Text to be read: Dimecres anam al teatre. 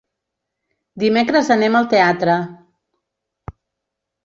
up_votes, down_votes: 1, 2